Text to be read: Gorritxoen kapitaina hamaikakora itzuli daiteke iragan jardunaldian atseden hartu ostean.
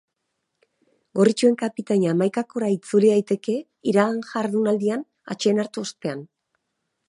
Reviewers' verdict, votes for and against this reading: accepted, 3, 0